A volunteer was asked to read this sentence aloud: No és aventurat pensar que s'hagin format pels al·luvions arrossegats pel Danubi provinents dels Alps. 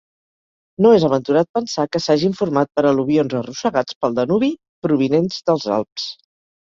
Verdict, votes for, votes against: rejected, 1, 2